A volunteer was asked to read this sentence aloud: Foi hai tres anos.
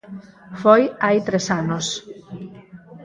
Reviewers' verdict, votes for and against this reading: accepted, 4, 0